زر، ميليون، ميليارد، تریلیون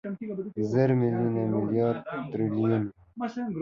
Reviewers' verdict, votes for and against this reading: accepted, 2, 0